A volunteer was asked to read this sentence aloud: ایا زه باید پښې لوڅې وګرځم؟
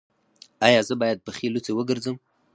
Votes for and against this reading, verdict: 4, 0, accepted